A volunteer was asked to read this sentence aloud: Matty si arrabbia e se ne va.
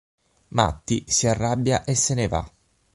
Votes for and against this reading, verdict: 6, 0, accepted